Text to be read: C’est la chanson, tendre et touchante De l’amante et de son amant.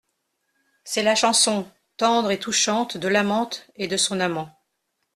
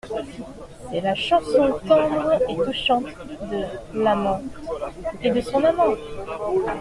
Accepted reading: first